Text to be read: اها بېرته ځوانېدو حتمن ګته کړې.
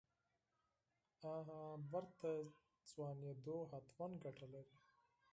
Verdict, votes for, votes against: rejected, 2, 4